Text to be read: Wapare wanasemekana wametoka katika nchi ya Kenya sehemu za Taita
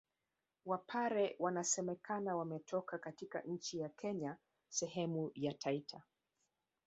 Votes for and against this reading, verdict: 0, 2, rejected